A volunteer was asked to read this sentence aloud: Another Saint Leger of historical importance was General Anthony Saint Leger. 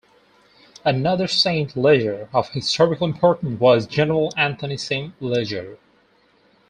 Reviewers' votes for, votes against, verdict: 2, 4, rejected